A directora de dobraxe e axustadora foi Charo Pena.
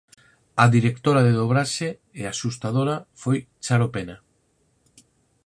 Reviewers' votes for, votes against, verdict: 4, 0, accepted